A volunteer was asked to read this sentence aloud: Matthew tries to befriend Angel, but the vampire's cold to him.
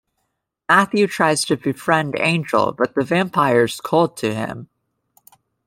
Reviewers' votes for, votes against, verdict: 1, 2, rejected